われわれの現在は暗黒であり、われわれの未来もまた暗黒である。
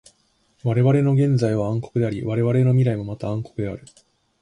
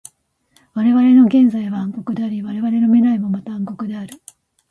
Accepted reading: first